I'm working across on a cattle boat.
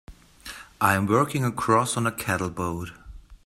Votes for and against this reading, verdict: 2, 0, accepted